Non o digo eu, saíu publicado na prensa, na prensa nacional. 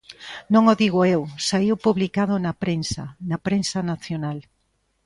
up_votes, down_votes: 2, 0